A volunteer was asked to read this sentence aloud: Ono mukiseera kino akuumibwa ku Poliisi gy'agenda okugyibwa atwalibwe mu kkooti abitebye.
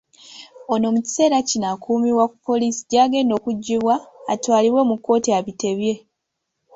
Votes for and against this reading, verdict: 2, 0, accepted